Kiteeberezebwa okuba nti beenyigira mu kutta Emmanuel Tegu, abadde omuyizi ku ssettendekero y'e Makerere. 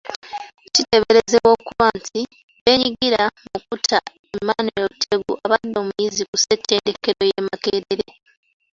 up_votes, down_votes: 1, 2